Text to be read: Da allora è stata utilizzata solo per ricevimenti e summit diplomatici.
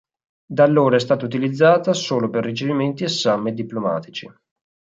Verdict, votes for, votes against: accepted, 6, 0